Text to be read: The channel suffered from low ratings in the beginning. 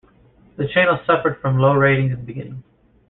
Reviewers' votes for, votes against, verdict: 1, 2, rejected